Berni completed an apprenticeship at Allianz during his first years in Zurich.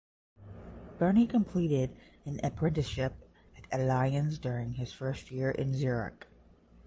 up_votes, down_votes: 0, 5